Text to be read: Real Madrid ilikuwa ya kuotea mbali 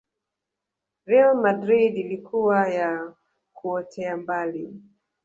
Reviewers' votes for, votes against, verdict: 0, 2, rejected